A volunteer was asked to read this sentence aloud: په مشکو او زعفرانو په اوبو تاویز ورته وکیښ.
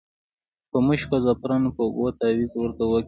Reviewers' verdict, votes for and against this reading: rejected, 0, 2